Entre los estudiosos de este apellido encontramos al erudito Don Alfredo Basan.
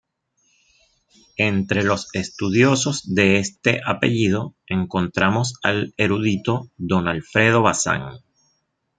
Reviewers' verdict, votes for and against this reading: accepted, 2, 0